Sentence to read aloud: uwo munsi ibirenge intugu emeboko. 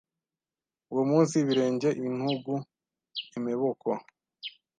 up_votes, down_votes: 1, 2